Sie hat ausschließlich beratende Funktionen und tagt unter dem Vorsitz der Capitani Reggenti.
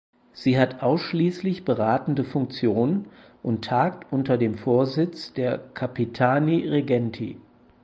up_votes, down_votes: 4, 0